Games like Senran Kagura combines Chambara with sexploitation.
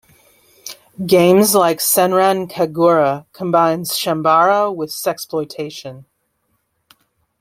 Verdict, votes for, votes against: accepted, 2, 0